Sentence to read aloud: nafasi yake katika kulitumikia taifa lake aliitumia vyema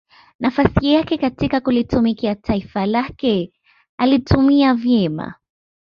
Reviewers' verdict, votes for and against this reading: accepted, 2, 0